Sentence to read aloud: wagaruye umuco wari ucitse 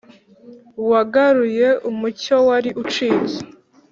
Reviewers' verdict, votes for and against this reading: accepted, 4, 0